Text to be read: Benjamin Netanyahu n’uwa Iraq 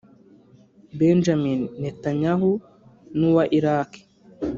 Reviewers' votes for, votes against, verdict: 0, 3, rejected